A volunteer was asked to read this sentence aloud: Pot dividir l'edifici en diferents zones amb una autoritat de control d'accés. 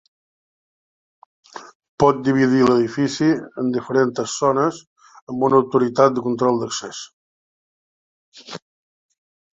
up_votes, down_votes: 0, 2